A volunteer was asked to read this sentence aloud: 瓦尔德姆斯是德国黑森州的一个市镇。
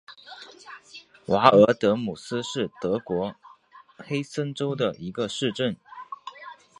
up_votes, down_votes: 4, 1